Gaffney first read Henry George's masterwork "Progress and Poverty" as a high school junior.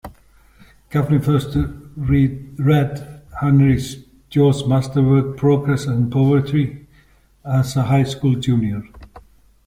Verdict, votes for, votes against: rejected, 0, 2